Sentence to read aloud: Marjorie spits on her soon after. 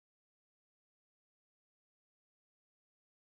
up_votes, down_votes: 0, 2